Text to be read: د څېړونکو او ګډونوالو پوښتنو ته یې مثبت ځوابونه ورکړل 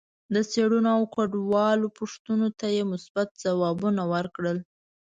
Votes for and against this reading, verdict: 0, 2, rejected